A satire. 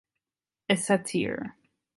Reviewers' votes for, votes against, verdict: 1, 2, rejected